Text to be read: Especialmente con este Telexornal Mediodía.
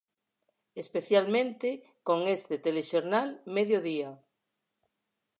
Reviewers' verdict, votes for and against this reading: accepted, 4, 0